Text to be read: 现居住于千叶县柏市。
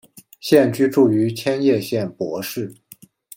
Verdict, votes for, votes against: accepted, 2, 0